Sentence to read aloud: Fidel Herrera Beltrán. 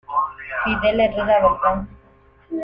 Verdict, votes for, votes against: rejected, 0, 2